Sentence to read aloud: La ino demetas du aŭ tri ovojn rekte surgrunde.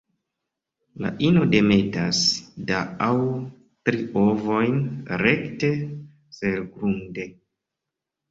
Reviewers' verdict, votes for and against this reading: rejected, 1, 2